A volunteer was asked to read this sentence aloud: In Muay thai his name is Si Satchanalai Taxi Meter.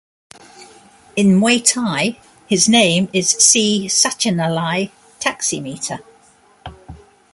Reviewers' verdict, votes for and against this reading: accepted, 2, 0